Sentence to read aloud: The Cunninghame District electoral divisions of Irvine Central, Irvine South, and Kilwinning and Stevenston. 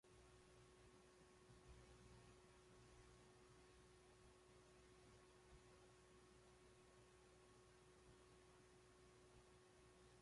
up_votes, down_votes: 0, 2